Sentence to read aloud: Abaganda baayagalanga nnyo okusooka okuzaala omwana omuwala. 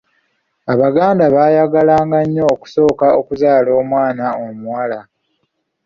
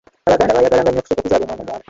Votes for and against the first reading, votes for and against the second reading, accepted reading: 2, 0, 0, 2, first